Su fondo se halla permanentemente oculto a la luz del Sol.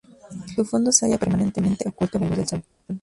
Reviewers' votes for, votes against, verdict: 0, 2, rejected